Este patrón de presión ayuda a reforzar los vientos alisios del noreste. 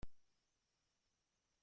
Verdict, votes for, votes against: rejected, 0, 2